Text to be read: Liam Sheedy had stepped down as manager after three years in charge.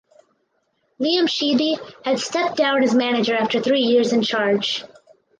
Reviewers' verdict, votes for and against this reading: accepted, 2, 0